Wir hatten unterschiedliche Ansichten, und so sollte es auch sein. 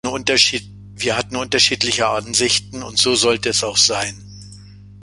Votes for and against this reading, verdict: 0, 2, rejected